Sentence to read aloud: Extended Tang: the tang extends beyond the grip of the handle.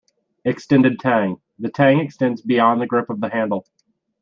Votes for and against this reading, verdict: 2, 0, accepted